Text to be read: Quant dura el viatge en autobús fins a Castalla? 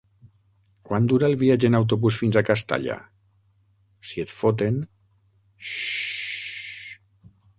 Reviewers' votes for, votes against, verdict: 0, 6, rejected